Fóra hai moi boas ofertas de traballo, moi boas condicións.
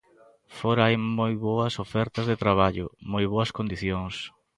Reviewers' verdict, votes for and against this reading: accepted, 2, 0